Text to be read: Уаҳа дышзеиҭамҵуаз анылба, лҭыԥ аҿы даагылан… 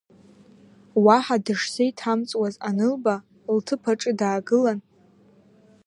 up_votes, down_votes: 2, 0